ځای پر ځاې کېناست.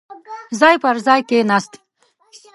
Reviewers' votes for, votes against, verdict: 1, 2, rejected